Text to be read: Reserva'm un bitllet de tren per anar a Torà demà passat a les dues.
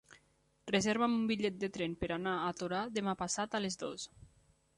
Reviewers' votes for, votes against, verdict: 1, 2, rejected